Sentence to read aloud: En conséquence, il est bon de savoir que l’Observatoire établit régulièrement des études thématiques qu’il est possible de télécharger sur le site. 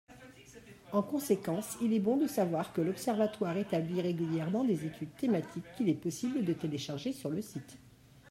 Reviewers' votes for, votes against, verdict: 1, 2, rejected